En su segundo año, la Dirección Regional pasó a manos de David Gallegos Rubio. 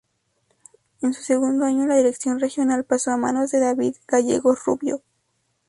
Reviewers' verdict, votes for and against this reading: accepted, 2, 0